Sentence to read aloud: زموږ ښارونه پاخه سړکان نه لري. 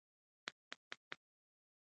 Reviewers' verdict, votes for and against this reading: rejected, 1, 2